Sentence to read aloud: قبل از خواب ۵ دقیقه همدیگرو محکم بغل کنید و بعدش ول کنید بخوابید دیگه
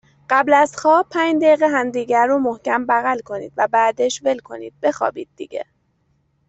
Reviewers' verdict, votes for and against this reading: rejected, 0, 2